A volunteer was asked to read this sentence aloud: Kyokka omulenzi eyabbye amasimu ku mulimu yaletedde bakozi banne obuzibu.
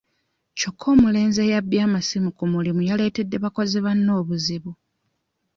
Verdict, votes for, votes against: accepted, 2, 0